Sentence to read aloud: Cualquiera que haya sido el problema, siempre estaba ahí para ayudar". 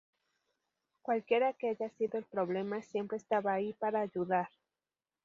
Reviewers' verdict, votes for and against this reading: rejected, 0, 2